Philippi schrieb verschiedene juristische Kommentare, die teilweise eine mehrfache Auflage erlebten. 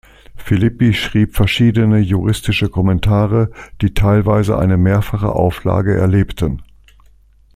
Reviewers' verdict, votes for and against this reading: accepted, 2, 0